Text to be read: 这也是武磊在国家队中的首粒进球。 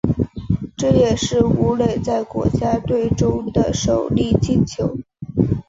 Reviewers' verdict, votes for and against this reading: accepted, 2, 0